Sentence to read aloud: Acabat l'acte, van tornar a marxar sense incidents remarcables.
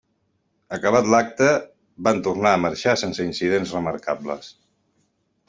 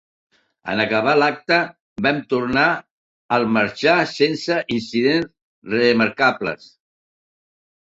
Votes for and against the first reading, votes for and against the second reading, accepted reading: 3, 0, 0, 2, first